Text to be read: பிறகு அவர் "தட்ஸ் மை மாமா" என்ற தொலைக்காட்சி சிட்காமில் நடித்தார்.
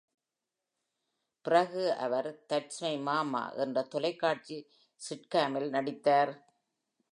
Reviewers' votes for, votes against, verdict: 2, 0, accepted